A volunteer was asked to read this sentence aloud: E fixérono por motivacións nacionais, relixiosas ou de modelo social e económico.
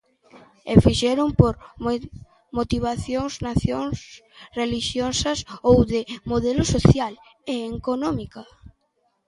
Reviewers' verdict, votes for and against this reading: rejected, 0, 2